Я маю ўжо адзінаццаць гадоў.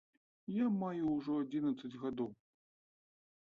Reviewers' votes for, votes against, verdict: 1, 2, rejected